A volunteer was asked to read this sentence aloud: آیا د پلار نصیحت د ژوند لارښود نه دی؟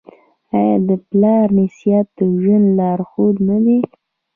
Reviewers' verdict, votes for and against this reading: rejected, 0, 2